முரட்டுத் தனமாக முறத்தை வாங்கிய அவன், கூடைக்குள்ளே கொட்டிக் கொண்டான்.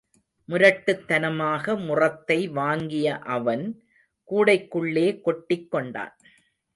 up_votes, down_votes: 2, 0